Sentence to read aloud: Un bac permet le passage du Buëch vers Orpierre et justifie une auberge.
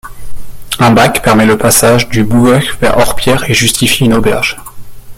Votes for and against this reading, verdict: 1, 2, rejected